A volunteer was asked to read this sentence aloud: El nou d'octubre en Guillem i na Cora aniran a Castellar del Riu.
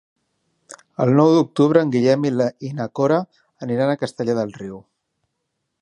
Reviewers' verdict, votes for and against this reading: rejected, 0, 2